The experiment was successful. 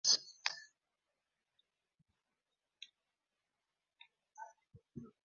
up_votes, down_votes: 0, 2